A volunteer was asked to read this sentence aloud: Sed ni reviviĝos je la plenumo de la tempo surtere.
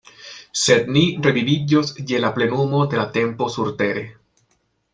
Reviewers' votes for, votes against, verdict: 2, 0, accepted